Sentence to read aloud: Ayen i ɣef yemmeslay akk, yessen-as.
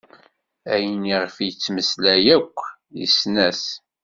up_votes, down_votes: 1, 2